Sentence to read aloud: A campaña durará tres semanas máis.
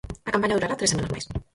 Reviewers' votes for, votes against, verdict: 0, 4, rejected